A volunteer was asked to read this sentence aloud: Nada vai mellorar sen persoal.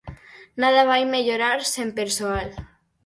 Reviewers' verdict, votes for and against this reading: accepted, 4, 0